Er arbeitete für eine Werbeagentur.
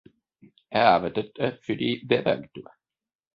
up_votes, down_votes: 0, 2